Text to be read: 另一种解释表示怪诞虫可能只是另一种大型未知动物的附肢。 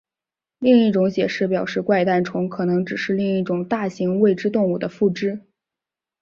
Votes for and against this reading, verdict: 2, 0, accepted